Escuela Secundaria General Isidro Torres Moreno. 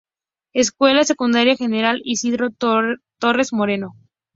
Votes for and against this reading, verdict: 2, 0, accepted